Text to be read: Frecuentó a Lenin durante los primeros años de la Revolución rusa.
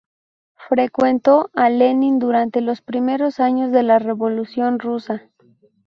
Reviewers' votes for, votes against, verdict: 2, 0, accepted